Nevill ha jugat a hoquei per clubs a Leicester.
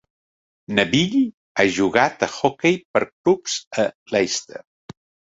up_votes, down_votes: 2, 1